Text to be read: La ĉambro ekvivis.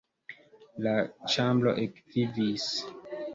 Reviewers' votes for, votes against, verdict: 1, 2, rejected